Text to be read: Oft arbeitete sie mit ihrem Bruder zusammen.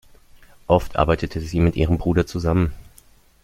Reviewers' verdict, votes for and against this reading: accepted, 2, 0